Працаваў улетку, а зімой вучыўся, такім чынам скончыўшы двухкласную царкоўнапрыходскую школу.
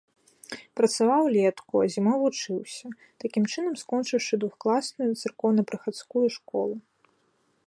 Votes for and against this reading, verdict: 2, 1, accepted